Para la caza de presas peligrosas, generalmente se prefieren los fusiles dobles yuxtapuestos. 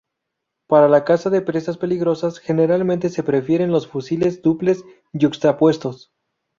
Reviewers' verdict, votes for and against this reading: rejected, 0, 2